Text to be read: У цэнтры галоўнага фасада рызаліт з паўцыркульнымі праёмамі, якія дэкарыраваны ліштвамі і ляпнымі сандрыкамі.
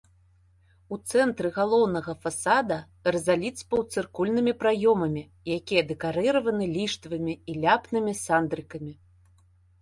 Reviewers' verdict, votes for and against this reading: accepted, 2, 0